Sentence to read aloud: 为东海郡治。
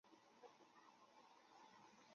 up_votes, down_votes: 1, 2